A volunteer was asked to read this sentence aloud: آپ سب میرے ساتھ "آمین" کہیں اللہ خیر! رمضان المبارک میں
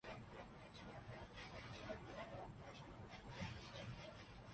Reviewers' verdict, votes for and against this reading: rejected, 1, 2